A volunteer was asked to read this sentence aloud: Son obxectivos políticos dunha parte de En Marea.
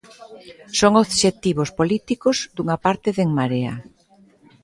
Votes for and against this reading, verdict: 2, 0, accepted